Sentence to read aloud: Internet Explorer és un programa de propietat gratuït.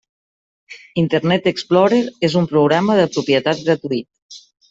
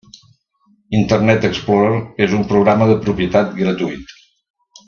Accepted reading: first